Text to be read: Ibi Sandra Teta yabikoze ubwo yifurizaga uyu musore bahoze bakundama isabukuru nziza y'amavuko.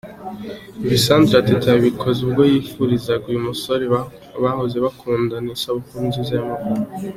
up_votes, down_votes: 2, 0